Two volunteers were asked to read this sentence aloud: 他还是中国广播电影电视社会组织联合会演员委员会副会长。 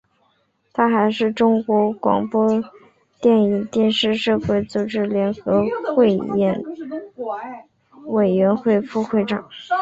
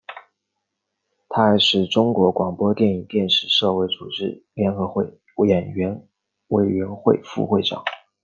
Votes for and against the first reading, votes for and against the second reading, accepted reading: 1, 2, 2, 1, second